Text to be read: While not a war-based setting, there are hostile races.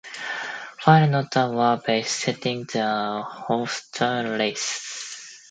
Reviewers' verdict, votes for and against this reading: rejected, 0, 2